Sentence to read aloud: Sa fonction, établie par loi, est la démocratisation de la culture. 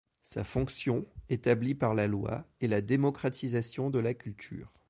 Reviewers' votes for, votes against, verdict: 1, 2, rejected